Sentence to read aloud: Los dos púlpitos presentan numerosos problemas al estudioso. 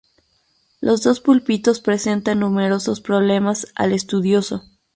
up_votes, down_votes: 0, 2